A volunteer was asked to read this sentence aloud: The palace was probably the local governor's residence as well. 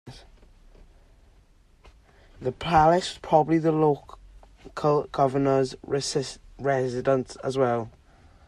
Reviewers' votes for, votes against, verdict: 0, 2, rejected